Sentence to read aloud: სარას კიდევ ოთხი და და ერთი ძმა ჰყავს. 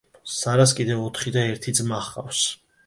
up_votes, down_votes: 1, 2